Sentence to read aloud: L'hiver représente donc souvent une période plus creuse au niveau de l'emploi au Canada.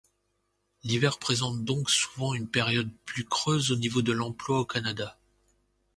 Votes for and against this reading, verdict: 2, 1, accepted